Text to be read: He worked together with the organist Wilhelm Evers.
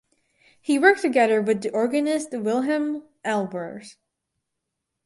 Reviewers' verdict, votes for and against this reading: rejected, 0, 4